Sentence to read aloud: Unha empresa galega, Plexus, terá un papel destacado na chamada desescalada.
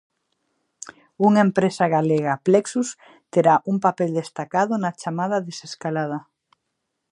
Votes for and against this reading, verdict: 2, 0, accepted